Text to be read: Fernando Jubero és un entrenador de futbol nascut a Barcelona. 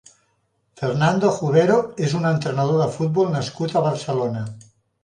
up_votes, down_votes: 0, 2